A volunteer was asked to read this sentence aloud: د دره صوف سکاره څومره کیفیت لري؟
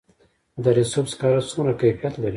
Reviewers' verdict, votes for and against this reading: accepted, 2, 1